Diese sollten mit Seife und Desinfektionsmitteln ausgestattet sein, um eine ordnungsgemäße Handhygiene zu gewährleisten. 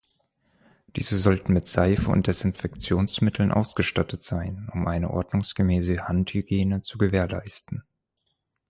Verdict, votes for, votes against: accepted, 4, 0